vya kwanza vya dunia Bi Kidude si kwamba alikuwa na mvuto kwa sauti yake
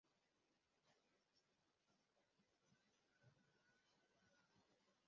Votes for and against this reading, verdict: 0, 2, rejected